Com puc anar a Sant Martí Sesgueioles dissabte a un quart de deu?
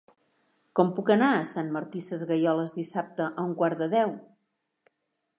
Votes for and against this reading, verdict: 2, 0, accepted